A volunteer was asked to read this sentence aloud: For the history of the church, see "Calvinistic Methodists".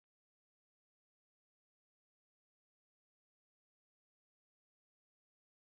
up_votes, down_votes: 0, 2